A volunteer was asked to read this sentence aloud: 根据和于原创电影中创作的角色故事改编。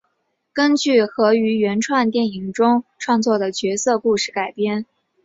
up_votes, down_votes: 4, 1